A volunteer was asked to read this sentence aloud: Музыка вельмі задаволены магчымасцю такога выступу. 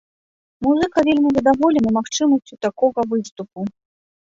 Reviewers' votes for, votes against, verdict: 1, 2, rejected